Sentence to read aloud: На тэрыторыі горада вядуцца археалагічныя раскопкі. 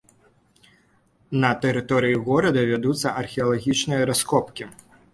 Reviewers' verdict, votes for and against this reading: accepted, 2, 0